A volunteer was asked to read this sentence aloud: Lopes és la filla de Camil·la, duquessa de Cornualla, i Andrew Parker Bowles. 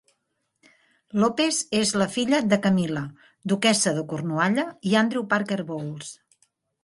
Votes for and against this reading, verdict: 2, 0, accepted